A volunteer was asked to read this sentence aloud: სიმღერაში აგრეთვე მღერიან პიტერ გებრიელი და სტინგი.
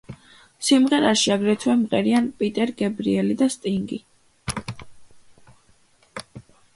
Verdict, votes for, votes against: accepted, 2, 0